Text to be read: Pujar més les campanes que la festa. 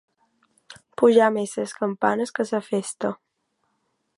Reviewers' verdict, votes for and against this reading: rejected, 1, 2